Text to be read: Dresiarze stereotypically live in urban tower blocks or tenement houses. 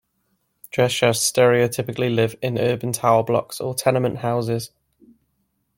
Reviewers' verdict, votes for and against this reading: accepted, 2, 0